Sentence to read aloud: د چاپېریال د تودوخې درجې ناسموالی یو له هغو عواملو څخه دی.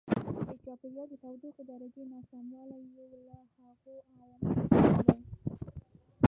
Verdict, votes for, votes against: rejected, 0, 2